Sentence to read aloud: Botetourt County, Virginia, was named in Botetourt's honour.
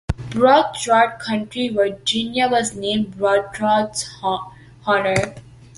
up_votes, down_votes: 0, 2